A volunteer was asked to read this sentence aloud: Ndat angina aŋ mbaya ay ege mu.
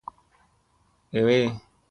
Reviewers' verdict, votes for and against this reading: rejected, 0, 2